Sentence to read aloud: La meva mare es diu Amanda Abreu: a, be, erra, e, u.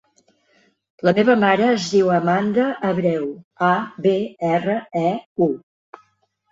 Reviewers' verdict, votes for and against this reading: accepted, 3, 0